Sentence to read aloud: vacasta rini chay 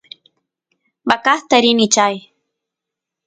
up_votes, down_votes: 3, 0